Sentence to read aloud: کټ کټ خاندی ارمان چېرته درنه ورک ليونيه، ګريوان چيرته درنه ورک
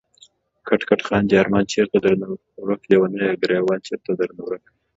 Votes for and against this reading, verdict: 2, 0, accepted